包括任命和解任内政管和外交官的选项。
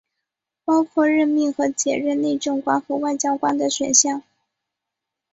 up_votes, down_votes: 2, 0